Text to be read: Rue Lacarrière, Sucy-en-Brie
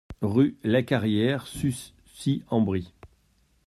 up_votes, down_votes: 1, 2